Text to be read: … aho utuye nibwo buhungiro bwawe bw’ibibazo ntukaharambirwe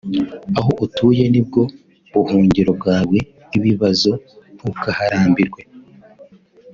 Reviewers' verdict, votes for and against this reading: accepted, 3, 0